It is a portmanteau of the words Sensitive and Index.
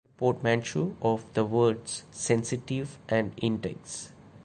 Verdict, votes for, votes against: rejected, 0, 2